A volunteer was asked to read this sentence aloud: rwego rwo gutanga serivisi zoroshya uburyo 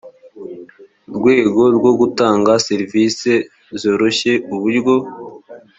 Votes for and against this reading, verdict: 3, 0, accepted